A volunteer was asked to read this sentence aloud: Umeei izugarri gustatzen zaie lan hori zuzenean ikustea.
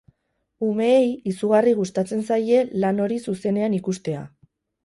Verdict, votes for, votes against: rejected, 0, 2